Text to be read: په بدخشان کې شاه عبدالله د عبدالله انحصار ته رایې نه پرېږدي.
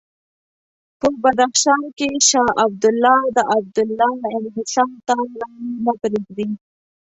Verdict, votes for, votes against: accepted, 2, 0